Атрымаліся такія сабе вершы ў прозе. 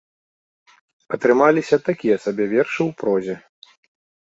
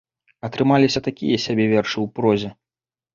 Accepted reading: first